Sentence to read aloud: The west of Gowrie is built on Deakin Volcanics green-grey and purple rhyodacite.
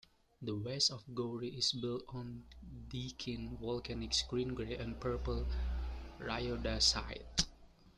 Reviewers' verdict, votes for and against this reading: accepted, 2, 0